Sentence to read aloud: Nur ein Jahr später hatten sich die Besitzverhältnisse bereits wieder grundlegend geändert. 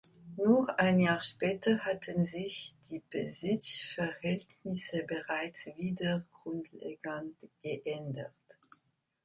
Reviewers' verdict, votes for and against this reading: accepted, 2, 0